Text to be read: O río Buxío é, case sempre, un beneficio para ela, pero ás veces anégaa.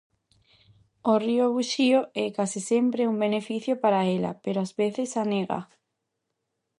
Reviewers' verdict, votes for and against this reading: accepted, 2, 0